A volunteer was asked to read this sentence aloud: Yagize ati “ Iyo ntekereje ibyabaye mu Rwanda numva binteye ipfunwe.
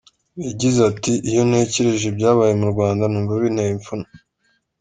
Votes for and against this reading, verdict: 2, 0, accepted